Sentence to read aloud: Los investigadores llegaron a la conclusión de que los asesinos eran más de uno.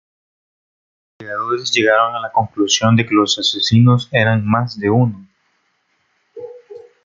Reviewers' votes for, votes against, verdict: 0, 2, rejected